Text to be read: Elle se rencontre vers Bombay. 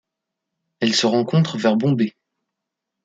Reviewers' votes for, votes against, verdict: 1, 2, rejected